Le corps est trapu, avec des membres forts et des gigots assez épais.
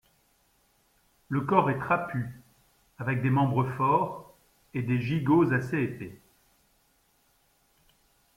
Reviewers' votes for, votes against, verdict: 2, 0, accepted